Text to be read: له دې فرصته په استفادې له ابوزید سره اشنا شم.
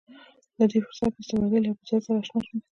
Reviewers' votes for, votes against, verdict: 1, 2, rejected